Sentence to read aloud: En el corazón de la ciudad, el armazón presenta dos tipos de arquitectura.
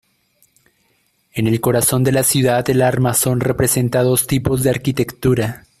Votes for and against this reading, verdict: 0, 2, rejected